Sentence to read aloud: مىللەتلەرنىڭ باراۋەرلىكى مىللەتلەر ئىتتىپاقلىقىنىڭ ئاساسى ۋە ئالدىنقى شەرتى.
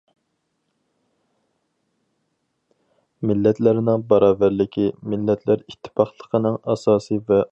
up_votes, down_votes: 0, 4